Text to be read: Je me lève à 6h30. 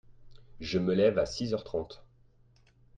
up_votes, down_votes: 0, 2